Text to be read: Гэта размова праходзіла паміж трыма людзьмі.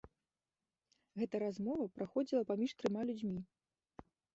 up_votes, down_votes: 2, 0